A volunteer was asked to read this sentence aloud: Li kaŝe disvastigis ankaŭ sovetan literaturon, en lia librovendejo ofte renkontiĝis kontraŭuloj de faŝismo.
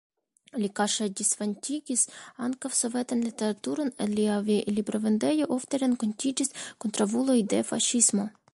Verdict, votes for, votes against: rejected, 1, 2